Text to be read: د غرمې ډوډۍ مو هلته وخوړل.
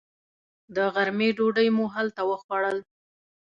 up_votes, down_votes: 2, 0